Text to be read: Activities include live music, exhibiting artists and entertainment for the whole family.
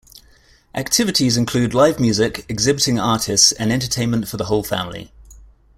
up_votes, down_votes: 2, 0